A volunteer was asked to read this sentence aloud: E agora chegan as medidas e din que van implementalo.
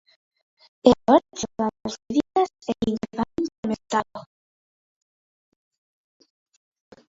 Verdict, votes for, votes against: rejected, 1, 3